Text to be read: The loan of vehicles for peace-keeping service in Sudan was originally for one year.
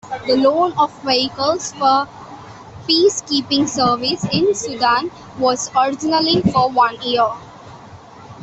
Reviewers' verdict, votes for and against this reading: accepted, 2, 0